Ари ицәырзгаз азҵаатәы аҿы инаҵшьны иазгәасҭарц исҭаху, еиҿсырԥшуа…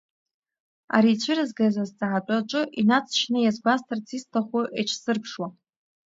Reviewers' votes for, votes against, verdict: 0, 2, rejected